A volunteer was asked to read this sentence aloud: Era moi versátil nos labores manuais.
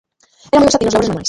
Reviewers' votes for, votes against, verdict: 0, 2, rejected